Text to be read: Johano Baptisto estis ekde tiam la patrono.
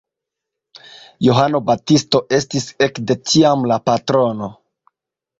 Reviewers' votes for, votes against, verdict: 2, 1, accepted